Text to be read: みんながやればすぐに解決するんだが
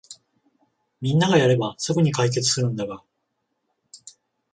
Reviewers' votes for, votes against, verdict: 14, 0, accepted